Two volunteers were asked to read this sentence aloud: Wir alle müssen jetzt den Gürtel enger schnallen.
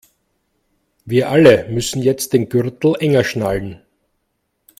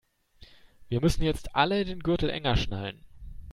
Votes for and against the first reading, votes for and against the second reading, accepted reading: 2, 0, 1, 2, first